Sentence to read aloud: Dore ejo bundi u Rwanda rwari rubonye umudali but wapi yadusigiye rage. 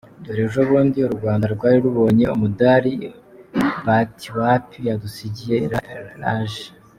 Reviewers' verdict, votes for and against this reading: rejected, 0, 2